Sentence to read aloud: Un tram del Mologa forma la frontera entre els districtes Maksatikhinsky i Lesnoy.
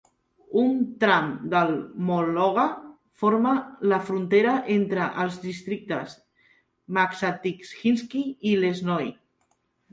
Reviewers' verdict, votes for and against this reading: accepted, 2, 0